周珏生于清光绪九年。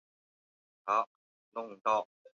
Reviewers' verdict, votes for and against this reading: rejected, 1, 4